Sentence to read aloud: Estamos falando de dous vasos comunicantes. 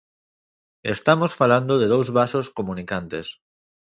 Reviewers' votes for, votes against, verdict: 2, 0, accepted